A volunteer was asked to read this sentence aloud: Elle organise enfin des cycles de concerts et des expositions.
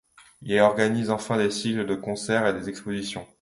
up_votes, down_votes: 1, 2